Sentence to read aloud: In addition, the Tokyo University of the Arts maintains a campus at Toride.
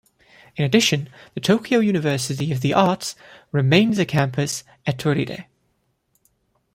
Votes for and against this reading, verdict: 0, 2, rejected